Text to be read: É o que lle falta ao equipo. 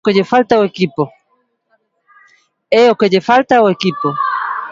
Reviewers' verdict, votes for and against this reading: rejected, 0, 2